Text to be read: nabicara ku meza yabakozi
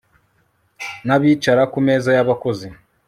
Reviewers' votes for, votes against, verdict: 2, 0, accepted